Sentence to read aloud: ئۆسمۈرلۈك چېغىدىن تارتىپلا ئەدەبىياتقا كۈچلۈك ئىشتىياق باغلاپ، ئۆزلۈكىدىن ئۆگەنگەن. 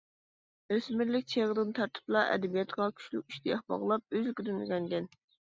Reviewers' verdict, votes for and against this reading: accepted, 2, 1